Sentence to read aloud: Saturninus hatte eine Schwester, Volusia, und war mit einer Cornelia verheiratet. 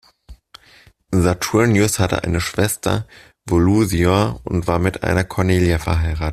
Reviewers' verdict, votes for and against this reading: rejected, 1, 2